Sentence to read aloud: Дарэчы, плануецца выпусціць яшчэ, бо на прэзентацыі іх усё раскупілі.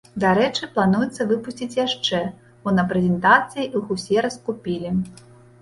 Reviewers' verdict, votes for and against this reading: rejected, 0, 2